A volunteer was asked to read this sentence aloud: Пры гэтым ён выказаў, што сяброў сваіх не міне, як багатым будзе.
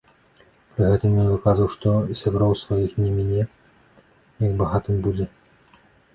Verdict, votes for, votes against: rejected, 1, 2